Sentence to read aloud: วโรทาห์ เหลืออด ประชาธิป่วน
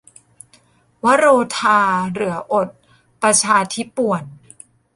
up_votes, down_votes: 1, 2